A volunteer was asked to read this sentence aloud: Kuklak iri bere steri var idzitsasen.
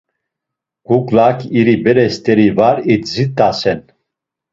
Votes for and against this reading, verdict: 2, 3, rejected